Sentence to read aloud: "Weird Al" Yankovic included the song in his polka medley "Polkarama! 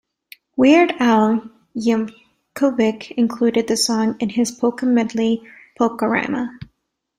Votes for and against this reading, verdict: 1, 2, rejected